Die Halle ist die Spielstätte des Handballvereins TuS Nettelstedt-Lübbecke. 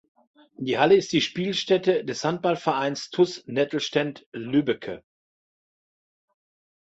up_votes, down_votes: 0, 2